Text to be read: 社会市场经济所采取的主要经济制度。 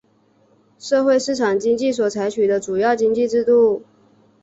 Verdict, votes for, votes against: rejected, 0, 2